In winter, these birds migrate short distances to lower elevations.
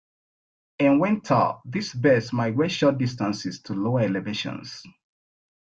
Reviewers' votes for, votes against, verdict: 3, 1, accepted